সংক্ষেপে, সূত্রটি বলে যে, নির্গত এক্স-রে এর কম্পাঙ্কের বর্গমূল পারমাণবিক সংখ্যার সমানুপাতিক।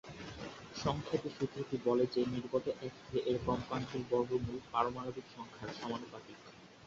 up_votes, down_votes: 0, 3